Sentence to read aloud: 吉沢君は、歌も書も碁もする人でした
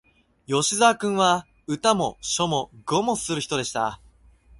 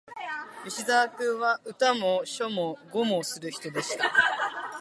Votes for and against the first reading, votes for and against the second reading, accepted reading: 2, 0, 0, 2, first